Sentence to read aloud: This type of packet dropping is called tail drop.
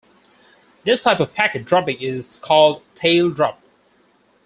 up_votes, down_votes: 4, 2